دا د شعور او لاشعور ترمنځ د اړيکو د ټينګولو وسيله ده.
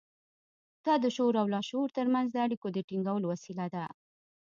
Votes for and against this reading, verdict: 2, 1, accepted